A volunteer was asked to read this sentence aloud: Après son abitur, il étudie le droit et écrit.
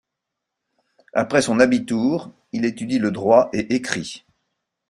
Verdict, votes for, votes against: rejected, 0, 2